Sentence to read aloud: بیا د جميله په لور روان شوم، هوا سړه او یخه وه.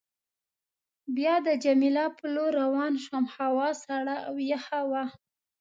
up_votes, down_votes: 2, 0